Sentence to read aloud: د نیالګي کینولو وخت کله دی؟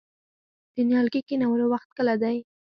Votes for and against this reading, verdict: 0, 4, rejected